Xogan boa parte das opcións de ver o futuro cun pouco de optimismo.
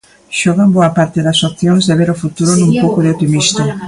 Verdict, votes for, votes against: rejected, 0, 2